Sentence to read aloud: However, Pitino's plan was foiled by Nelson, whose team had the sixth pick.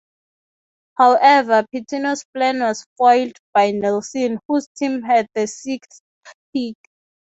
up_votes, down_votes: 6, 0